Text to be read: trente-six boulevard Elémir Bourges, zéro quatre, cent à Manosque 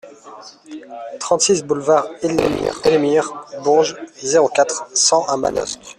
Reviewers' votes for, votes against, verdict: 0, 2, rejected